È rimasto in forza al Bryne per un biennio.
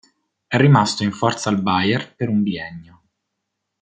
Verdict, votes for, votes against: rejected, 1, 2